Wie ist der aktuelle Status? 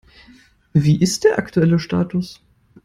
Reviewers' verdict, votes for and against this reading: accepted, 2, 0